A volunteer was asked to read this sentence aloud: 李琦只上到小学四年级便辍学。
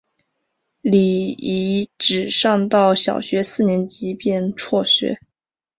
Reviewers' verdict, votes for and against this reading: rejected, 0, 2